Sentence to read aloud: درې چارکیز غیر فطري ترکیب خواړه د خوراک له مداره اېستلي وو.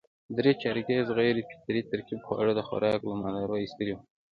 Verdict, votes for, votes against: accepted, 2, 0